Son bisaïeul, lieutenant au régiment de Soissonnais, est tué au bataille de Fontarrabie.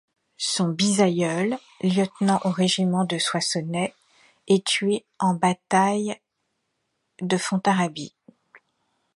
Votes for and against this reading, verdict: 0, 2, rejected